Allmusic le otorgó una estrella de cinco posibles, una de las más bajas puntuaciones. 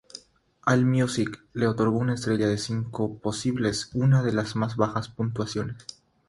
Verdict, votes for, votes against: rejected, 3, 3